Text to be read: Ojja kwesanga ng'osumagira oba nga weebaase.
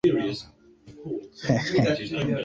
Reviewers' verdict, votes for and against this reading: accepted, 2, 1